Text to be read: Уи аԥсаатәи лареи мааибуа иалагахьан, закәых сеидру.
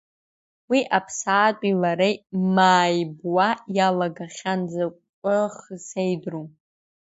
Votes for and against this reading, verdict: 1, 2, rejected